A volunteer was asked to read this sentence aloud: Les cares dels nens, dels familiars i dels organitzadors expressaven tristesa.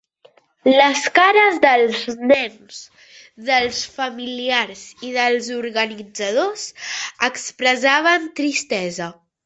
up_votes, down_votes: 1, 2